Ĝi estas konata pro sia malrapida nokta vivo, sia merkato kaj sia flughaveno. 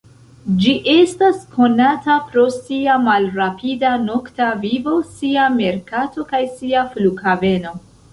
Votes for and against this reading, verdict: 3, 0, accepted